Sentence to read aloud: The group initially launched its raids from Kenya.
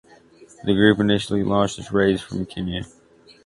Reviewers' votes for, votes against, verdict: 2, 1, accepted